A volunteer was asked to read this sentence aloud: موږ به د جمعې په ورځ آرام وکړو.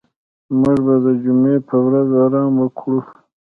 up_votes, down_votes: 2, 0